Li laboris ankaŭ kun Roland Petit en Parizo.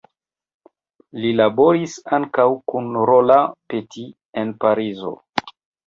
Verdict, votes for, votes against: rejected, 2, 3